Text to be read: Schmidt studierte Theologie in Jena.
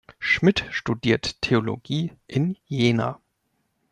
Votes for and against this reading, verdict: 2, 0, accepted